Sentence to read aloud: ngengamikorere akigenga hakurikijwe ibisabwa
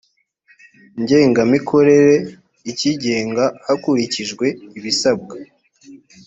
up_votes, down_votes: 1, 2